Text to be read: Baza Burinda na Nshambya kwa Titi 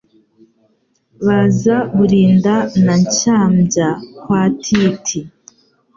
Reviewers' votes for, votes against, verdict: 2, 0, accepted